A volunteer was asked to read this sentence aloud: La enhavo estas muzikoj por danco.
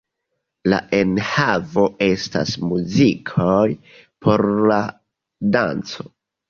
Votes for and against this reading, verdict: 1, 2, rejected